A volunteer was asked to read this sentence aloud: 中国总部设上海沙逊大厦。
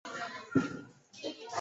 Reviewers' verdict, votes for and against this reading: rejected, 1, 2